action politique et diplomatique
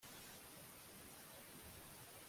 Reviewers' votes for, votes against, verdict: 0, 2, rejected